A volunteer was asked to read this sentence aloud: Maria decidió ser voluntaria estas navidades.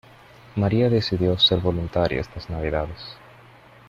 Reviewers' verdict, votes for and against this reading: accepted, 2, 1